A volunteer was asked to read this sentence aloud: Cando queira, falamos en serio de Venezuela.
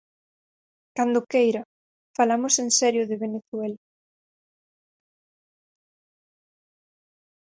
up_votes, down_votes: 4, 0